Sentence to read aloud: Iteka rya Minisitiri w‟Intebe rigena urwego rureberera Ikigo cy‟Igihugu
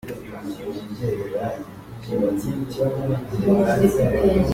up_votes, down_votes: 0, 2